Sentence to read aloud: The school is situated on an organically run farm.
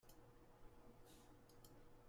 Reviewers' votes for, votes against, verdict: 0, 2, rejected